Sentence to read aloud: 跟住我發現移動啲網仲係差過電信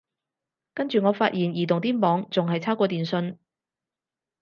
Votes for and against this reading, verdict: 4, 0, accepted